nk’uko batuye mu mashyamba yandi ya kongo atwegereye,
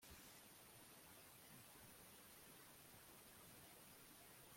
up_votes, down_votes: 0, 2